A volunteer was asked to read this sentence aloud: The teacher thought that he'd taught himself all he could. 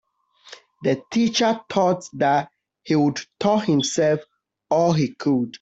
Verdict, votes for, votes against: rejected, 1, 2